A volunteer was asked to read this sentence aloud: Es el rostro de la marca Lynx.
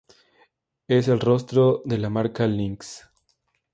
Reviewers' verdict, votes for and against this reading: accepted, 2, 0